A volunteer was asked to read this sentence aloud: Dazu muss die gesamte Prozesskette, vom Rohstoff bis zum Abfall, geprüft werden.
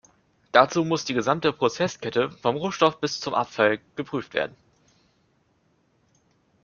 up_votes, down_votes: 2, 0